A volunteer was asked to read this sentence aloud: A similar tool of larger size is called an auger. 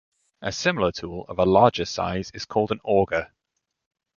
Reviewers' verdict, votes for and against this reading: accepted, 2, 0